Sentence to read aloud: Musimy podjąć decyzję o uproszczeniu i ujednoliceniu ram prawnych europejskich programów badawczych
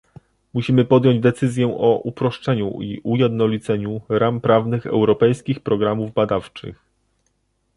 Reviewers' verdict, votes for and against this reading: rejected, 1, 2